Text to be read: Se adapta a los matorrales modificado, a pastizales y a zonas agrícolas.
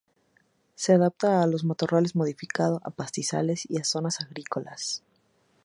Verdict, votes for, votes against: accepted, 2, 0